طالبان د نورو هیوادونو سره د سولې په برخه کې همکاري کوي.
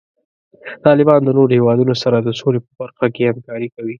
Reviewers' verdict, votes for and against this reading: accepted, 2, 0